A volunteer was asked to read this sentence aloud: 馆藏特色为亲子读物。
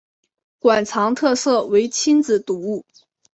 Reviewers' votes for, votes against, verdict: 3, 1, accepted